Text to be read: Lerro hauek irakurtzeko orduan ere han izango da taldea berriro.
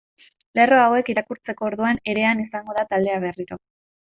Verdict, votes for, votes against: rejected, 1, 2